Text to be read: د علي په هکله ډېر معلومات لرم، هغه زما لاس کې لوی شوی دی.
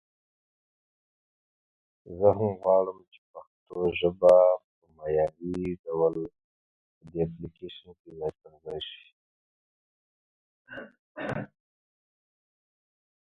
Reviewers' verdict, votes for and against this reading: rejected, 0, 2